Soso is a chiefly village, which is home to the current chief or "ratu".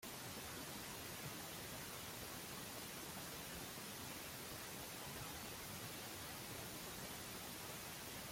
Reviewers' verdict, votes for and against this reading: rejected, 0, 2